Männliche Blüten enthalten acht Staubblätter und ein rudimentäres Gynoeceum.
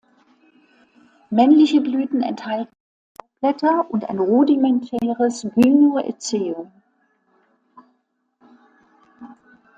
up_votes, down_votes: 0, 2